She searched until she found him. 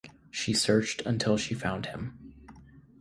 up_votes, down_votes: 2, 0